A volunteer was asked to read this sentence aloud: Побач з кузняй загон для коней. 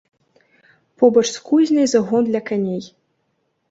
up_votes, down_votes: 0, 2